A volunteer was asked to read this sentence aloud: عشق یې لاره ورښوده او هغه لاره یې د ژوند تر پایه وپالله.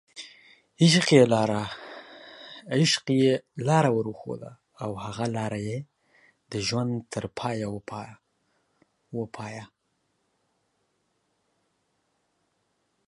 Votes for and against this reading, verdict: 1, 3, rejected